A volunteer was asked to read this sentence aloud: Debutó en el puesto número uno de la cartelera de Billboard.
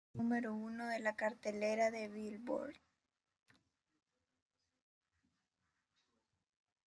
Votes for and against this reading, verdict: 1, 2, rejected